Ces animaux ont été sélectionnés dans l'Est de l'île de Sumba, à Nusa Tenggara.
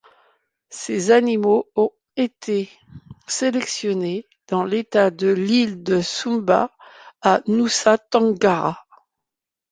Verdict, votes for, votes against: rejected, 0, 2